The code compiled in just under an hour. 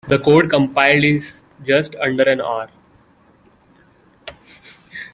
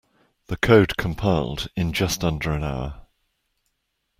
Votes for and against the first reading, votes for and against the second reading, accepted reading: 0, 2, 2, 0, second